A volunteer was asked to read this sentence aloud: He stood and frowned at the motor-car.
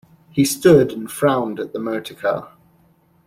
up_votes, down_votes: 2, 0